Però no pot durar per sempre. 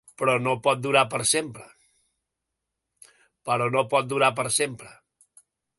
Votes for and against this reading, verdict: 3, 0, accepted